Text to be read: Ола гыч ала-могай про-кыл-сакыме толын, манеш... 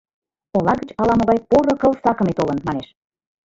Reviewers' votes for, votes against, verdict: 0, 2, rejected